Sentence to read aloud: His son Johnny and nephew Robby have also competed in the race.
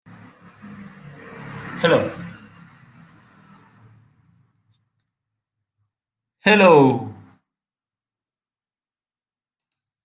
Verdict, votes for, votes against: rejected, 0, 2